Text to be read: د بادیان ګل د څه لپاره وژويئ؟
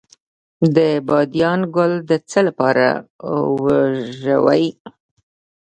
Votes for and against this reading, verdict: 2, 1, accepted